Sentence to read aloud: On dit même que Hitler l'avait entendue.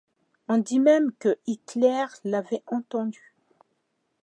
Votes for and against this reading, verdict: 2, 0, accepted